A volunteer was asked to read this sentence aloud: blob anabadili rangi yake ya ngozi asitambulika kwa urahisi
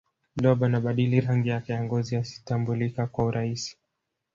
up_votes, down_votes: 1, 2